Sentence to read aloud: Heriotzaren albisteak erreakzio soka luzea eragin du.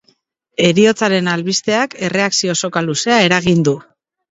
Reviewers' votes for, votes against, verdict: 2, 0, accepted